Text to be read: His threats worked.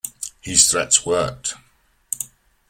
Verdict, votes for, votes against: accepted, 2, 0